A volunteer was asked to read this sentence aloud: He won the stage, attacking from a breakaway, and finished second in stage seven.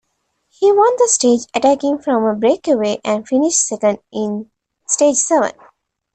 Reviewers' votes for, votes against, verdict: 2, 1, accepted